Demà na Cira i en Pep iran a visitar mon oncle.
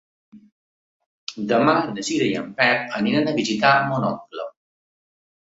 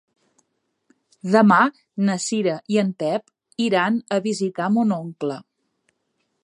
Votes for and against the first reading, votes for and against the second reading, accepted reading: 0, 4, 3, 0, second